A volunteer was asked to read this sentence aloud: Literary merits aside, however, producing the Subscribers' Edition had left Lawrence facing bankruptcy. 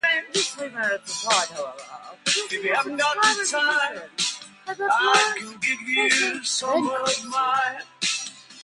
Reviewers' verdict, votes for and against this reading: rejected, 0, 2